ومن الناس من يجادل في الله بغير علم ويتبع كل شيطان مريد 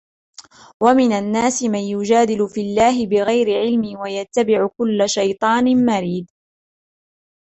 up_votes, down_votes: 0, 2